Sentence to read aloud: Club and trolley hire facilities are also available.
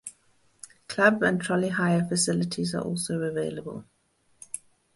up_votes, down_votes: 2, 2